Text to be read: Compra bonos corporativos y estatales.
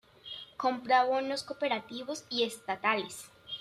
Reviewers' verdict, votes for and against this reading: rejected, 0, 3